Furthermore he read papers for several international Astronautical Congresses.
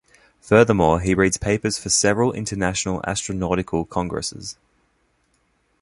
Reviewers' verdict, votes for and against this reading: rejected, 1, 2